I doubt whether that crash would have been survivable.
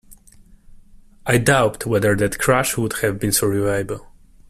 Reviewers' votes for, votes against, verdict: 0, 2, rejected